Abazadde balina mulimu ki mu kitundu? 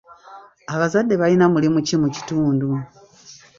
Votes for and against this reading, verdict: 1, 2, rejected